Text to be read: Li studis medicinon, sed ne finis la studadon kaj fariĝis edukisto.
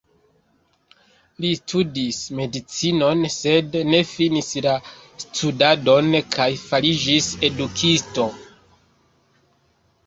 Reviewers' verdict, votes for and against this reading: accepted, 2, 0